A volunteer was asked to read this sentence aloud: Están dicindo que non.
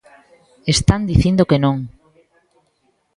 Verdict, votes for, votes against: accepted, 2, 0